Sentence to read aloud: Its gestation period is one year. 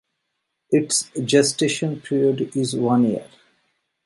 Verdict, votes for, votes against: accepted, 2, 0